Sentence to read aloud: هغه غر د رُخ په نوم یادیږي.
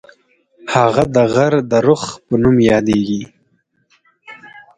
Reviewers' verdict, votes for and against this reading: rejected, 0, 4